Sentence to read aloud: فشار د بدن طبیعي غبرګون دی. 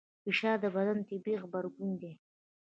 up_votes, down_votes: 2, 0